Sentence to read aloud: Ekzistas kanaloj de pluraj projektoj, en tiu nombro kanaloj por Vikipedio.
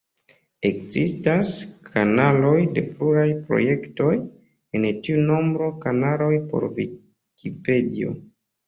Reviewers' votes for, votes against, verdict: 1, 2, rejected